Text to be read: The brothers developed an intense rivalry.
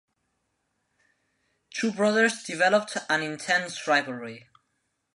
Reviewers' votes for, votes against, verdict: 0, 2, rejected